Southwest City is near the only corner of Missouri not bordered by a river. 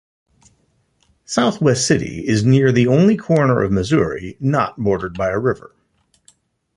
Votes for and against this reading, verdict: 2, 0, accepted